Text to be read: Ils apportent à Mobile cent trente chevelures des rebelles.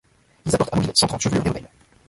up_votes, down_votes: 0, 2